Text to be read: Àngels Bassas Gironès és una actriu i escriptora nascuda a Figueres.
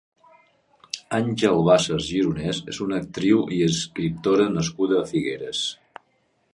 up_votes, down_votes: 0, 2